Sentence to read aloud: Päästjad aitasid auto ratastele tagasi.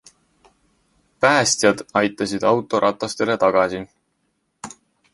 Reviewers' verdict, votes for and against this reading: accepted, 2, 0